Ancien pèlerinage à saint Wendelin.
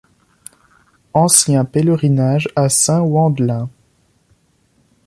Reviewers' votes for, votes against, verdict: 2, 0, accepted